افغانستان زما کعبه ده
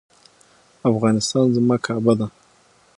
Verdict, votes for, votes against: accepted, 6, 0